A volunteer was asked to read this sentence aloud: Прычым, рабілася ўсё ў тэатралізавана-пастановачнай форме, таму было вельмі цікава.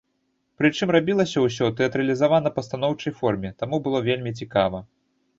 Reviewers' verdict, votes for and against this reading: rejected, 1, 2